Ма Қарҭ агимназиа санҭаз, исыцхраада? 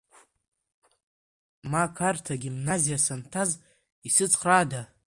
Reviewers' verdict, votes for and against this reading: rejected, 0, 2